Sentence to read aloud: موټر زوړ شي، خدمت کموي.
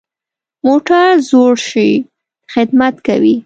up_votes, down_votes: 1, 2